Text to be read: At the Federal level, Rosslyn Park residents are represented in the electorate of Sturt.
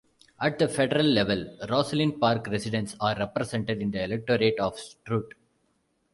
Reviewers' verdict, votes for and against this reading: rejected, 1, 2